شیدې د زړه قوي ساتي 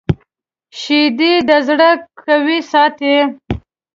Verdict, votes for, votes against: accepted, 2, 0